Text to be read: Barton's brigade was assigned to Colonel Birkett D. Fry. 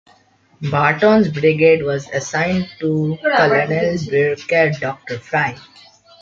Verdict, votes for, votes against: rejected, 1, 2